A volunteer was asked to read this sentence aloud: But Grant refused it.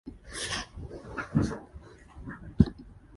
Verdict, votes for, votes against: rejected, 0, 2